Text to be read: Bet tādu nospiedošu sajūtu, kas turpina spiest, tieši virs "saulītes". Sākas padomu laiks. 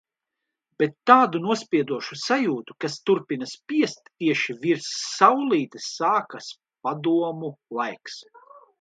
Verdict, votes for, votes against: accepted, 2, 0